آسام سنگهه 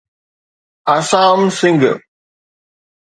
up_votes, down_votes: 2, 0